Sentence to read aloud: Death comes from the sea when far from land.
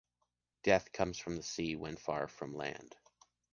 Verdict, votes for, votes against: accepted, 2, 0